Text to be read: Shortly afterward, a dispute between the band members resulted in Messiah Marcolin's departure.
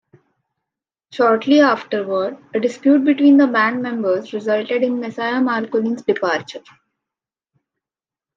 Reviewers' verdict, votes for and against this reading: accepted, 2, 1